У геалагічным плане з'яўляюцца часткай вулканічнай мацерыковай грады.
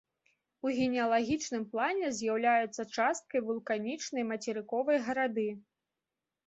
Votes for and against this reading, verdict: 0, 2, rejected